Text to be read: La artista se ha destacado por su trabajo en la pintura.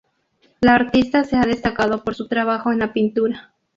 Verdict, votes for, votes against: accepted, 4, 0